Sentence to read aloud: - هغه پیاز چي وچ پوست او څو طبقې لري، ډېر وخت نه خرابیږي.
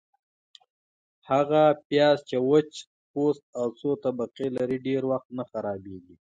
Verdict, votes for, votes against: accepted, 2, 0